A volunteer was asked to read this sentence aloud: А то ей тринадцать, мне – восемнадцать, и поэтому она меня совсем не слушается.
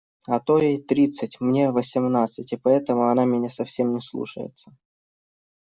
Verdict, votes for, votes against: rejected, 1, 2